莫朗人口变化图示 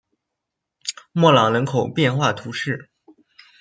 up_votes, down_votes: 2, 1